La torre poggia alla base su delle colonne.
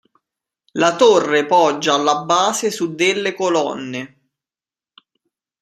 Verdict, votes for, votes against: accepted, 2, 0